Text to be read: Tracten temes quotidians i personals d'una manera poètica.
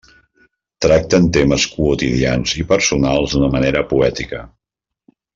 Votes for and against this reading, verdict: 2, 0, accepted